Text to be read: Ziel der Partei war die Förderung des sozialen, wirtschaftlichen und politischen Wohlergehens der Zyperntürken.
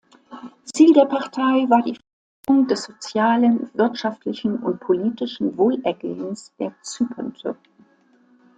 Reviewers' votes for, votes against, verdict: 1, 2, rejected